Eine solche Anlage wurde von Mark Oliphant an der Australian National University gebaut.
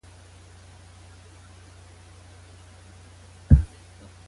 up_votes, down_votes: 0, 2